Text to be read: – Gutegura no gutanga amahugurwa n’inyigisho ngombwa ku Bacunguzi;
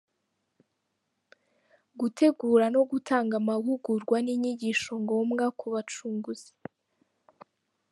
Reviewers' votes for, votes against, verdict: 1, 2, rejected